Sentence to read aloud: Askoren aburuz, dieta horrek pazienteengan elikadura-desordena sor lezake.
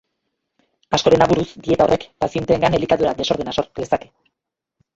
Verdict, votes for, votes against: rejected, 1, 4